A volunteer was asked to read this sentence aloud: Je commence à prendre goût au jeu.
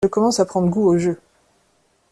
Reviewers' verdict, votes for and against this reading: rejected, 0, 2